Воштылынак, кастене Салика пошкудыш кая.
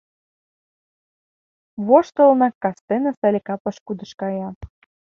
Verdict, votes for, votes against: accepted, 2, 0